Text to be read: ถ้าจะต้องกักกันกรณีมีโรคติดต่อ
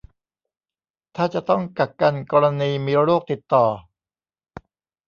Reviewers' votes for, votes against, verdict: 2, 0, accepted